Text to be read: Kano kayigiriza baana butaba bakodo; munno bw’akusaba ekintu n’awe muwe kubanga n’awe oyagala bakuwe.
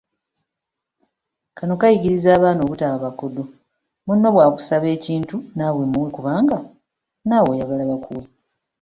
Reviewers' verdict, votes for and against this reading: accepted, 2, 0